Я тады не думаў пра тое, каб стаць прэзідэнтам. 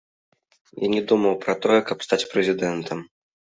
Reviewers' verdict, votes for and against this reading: rejected, 1, 2